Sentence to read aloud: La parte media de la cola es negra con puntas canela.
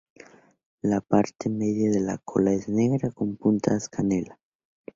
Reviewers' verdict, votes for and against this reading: accepted, 2, 0